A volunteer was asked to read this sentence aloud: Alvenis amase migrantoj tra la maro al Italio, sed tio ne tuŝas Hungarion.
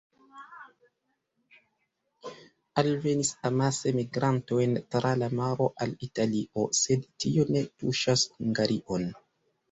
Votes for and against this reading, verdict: 0, 2, rejected